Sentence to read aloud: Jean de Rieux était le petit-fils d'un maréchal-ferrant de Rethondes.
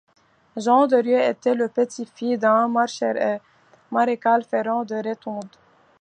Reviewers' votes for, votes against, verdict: 2, 1, accepted